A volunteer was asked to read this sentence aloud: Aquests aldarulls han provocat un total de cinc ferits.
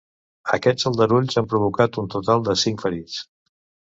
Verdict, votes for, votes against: accepted, 2, 0